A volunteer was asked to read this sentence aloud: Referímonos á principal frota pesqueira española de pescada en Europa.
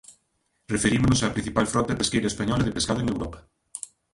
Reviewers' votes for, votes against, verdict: 1, 2, rejected